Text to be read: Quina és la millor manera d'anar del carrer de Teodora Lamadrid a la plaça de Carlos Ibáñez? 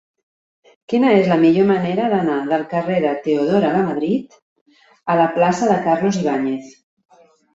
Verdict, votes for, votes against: accepted, 2, 0